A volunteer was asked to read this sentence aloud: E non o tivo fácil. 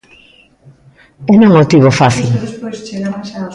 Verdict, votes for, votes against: rejected, 1, 2